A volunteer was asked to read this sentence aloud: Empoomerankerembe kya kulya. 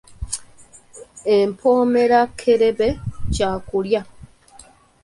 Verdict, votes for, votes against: rejected, 1, 2